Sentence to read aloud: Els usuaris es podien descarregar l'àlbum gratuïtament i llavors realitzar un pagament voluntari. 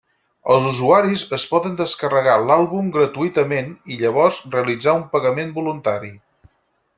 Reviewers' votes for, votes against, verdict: 2, 4, rejected